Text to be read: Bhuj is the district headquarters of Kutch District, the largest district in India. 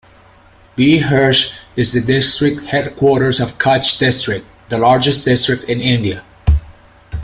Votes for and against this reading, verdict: 2, 0, accepted